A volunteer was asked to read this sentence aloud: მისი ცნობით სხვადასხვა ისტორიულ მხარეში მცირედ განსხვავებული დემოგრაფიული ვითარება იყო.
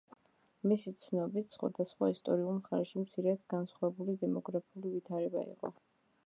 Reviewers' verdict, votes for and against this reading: rejected, 0, 2